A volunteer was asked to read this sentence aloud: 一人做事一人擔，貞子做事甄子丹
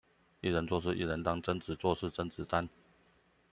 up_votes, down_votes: 2, 0